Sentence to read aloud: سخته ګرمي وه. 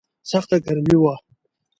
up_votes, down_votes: 2, 0